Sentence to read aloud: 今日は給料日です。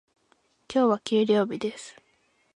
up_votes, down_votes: 2, 0